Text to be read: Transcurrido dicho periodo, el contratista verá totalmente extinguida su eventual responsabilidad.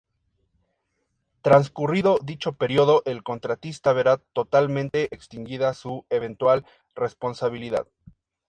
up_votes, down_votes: 2, 0